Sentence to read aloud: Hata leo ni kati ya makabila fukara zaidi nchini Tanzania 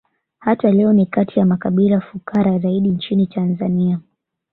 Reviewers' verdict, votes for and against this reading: accepted, 3, 1